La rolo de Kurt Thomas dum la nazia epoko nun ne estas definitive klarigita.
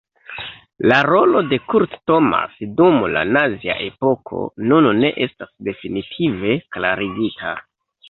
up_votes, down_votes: 2, 1